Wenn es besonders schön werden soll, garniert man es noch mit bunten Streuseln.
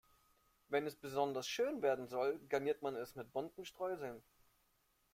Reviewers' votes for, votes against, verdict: 1, 2, rejected